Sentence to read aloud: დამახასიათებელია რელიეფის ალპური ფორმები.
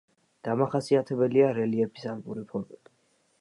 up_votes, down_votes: 2, 0